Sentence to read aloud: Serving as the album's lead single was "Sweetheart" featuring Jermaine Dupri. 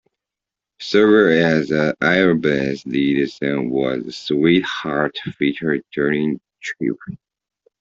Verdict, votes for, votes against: rejected, 0, 2